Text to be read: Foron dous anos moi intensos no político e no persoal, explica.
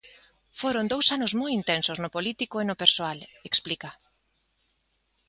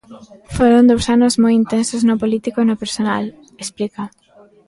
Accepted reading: first